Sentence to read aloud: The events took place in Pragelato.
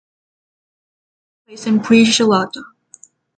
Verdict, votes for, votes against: rejected, 0, 3